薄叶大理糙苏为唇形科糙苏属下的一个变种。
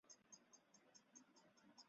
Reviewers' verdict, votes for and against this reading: rejected, 0, 4